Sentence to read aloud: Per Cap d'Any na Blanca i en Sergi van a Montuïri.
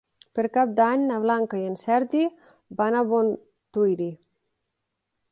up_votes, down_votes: 1, 2